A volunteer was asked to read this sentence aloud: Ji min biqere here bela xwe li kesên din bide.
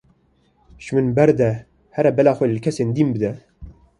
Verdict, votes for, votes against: rejected, 1, 2